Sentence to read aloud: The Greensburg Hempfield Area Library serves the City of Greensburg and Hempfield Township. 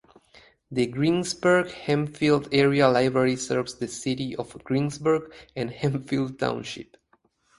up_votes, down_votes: 2, 0